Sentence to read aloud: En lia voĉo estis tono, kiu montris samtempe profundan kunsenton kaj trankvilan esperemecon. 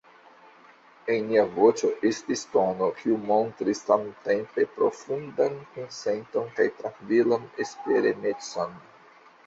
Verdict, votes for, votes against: rejected, 1, 2